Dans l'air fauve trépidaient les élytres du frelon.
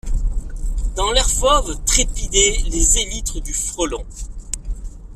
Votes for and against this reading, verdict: 2, 0, accepted